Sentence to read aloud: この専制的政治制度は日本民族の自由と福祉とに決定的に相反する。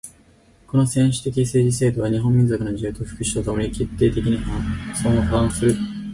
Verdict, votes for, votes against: accepted, 4, 0